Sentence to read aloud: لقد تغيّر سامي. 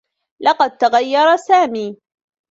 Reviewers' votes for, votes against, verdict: 2, 1, accepted